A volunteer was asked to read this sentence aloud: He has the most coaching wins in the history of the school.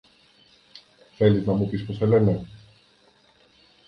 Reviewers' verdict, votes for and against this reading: rejected, 0, 2